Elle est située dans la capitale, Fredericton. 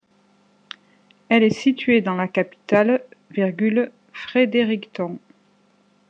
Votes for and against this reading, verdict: 0, 2, rejected